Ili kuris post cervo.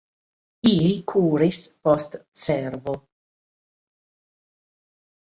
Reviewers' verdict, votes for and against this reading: rejected, 2, 3